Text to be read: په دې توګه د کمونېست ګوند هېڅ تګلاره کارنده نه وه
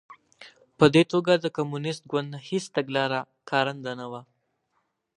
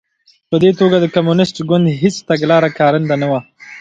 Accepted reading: first